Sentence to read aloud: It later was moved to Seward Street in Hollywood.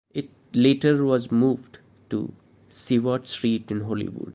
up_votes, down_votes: 2, 1